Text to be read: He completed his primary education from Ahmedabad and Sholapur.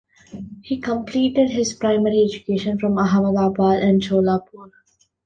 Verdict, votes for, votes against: accepted, 2, 1